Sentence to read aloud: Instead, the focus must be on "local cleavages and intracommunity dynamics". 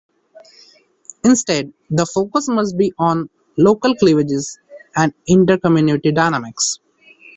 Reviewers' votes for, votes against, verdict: 2, 0, accepted